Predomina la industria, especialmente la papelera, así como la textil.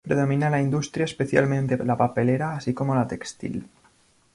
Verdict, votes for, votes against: accepted, 2, 0